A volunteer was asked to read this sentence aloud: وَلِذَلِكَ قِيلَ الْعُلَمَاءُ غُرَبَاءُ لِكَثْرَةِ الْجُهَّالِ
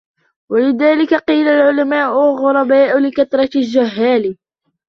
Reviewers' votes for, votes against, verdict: 2, 1, accepted